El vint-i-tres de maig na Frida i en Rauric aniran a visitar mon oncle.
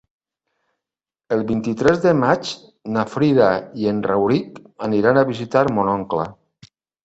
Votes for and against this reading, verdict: 3, 0, accepted